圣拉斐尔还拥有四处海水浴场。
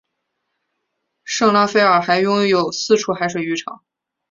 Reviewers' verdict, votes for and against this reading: accepted, 2, 0